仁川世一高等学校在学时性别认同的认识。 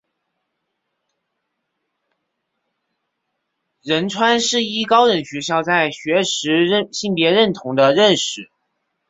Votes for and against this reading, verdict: 0, 3, rejected